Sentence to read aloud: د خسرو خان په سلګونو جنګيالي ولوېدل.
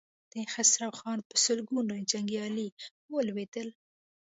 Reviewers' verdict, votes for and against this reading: accepted, 2, 0